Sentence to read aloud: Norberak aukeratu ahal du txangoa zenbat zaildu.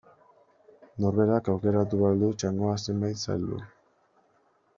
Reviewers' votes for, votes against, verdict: 1, 2, rejected